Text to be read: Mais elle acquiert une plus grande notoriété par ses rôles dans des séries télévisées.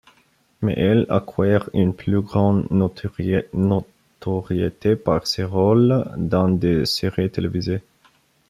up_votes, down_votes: 0, 2